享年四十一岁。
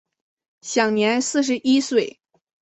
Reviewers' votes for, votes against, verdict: 2, 0, accepted